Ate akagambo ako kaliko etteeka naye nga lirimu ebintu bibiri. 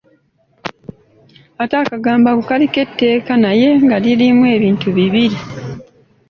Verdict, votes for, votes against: accepted, 2, 0